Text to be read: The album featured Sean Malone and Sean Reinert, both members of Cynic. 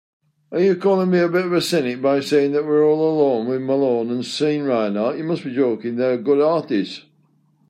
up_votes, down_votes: 0, 2